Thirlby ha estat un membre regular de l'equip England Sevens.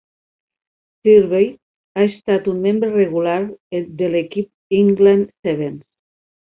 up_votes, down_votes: 3, 0